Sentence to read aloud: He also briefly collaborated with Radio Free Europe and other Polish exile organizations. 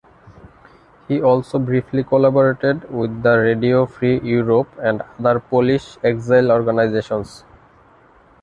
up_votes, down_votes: 0, 2